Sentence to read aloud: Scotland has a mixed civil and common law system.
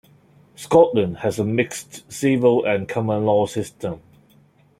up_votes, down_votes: 1, 2